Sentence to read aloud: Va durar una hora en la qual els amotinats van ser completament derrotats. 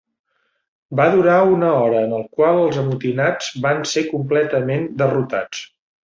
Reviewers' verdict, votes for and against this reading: rejected, 0, 2